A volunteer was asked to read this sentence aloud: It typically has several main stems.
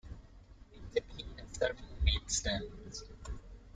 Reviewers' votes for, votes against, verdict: 2, 1, accepted